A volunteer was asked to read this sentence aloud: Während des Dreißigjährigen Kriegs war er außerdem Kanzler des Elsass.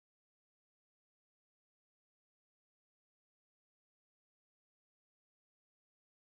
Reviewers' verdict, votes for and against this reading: rejected, 0, 2